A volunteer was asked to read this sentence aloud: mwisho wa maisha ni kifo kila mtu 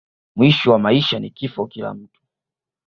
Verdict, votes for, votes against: accepted, 2, 0